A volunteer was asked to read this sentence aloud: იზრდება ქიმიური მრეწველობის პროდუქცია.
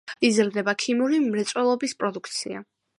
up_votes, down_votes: 3, 0